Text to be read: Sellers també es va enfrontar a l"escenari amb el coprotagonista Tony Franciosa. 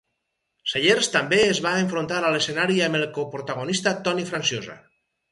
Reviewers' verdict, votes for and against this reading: accepted, 4, 0